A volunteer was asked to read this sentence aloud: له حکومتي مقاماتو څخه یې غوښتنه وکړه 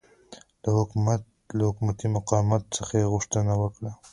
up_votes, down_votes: 2, 0